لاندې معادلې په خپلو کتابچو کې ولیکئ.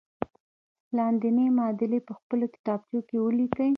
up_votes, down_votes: 1, 2